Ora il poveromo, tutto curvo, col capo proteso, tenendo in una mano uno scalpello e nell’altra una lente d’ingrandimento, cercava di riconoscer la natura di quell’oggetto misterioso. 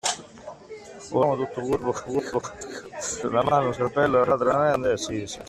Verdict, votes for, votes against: rejected, 0, 2